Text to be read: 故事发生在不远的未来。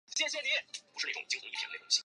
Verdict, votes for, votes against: rejected, 0, 3